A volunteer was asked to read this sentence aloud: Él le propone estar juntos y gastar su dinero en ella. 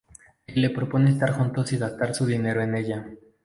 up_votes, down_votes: 0, 2